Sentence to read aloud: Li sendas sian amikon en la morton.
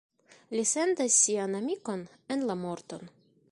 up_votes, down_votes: 0, 2